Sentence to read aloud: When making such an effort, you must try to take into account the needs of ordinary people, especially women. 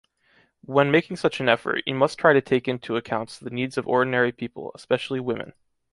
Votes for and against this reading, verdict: 2, 0, accepted